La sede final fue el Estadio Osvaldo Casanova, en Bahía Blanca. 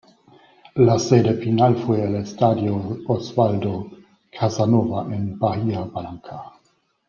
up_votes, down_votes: 2, 0